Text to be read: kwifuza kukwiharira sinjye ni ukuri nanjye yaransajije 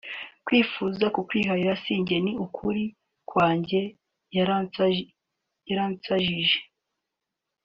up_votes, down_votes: 0, 3